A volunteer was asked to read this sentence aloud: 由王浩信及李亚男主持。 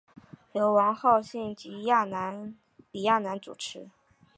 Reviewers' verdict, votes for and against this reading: rejected, 0, 2